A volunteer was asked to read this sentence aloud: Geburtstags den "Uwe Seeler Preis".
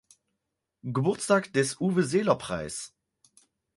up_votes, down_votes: 0, 4